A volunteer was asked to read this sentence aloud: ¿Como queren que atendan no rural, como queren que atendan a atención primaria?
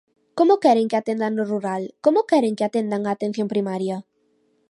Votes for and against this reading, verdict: 2, 0, accepted